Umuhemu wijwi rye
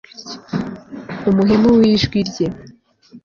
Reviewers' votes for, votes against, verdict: 2, 0, accepted